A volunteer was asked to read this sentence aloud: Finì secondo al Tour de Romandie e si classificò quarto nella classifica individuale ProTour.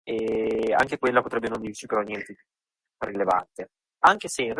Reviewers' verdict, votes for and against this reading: rejected, 0, 2